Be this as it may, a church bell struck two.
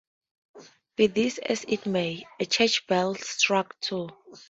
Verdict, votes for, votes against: rejected, 0, 2